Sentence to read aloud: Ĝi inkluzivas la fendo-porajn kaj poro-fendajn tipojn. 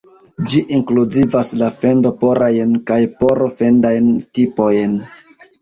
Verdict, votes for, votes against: accepted, 2, 0